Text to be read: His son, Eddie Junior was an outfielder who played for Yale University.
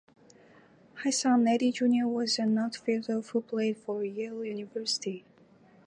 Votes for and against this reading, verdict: 2, 0, accepted